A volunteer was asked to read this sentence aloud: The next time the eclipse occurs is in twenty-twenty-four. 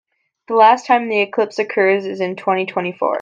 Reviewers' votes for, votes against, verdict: 0, 2, rejected